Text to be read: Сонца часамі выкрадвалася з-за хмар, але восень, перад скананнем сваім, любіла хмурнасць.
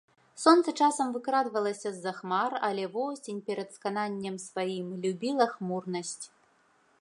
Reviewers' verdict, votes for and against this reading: rejected, 1, 2